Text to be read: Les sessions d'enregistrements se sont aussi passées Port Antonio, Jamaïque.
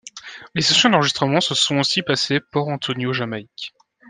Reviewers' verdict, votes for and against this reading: accepted, 2, 0